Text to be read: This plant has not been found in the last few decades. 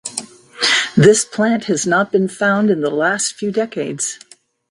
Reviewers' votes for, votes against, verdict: 2, 0, accepted